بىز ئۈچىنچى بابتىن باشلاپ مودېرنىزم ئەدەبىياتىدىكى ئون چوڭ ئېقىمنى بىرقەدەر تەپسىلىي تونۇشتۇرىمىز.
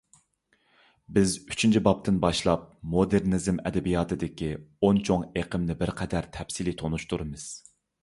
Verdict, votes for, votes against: accepted, 2, 0